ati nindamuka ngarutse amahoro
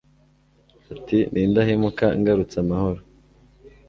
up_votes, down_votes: 0, 2